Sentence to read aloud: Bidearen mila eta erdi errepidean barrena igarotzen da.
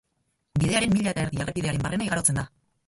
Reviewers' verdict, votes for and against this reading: rejected, 2, 2